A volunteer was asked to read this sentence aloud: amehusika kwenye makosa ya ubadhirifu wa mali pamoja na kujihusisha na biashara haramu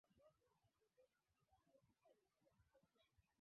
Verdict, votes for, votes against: rejected, 0, 2